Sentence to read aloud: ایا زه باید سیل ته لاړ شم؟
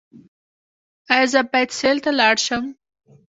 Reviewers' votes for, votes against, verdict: 2, 0, accepted